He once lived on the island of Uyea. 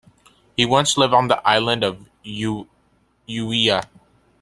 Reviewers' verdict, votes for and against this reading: rejected, 1, 2